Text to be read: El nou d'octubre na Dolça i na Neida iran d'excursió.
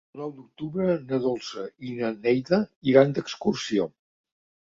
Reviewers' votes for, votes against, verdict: 2, 0, accepted